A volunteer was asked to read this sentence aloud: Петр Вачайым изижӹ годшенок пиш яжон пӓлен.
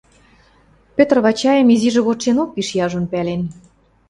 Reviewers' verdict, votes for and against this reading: accepted, 2, 0